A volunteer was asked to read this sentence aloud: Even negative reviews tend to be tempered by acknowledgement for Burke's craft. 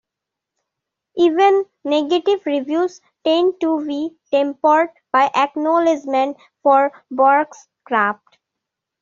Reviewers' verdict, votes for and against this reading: accepted, 2, 1